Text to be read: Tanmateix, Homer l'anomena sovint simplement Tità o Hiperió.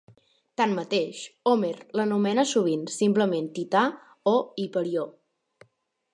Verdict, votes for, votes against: rejected, 1, 2